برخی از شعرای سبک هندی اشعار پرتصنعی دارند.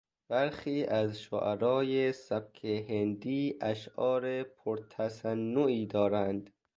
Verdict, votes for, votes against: accepted, 2, 0